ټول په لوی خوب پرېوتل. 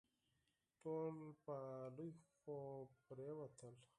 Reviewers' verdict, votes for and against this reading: rejected, 2, 4